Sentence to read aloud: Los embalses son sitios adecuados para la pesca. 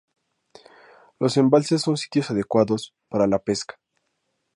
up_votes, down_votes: 2, 0